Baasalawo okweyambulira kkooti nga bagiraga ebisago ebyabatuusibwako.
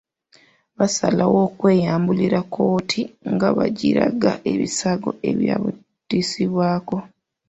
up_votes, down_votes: 2, 0